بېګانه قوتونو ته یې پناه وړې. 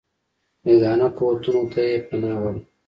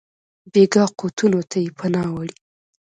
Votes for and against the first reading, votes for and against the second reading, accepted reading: 2, 0, 0, 2, first